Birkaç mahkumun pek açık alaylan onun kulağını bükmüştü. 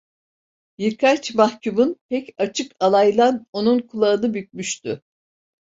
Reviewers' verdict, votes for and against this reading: accepted, 2, 0